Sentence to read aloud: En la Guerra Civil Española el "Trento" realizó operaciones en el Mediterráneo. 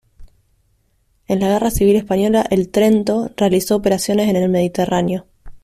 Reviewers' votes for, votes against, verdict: 2, 0, accepted